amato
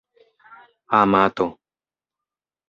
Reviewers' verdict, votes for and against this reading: accepted, 2, 0